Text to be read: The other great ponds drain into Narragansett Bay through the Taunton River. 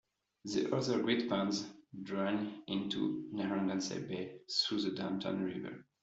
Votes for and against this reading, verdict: 0, 2, rejected